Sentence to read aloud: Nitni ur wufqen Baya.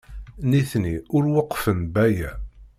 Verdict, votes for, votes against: rejected, 0, 2